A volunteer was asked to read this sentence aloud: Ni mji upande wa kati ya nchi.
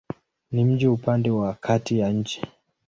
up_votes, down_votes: 2, 1